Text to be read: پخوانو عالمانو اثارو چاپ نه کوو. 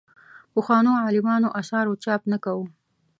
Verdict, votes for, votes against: accepted, 2, 0